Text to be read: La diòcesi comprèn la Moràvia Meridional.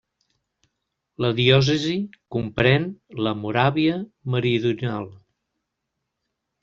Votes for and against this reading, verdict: 0, 2, rejected